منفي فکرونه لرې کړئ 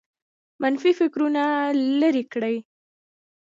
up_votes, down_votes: 2, 1